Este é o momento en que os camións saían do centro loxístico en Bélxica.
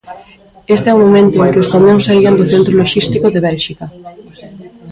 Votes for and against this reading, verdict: 0, 2, rejected